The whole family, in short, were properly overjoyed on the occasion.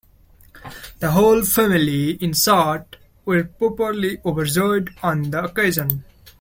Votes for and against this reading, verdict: 0, 2, rejected